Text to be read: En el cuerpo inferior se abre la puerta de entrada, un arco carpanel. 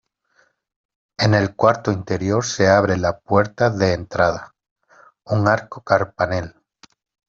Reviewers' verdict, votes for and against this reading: rejected, 0, 2